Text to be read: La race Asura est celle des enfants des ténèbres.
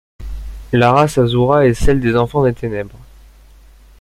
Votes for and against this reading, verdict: 2, 0, accepted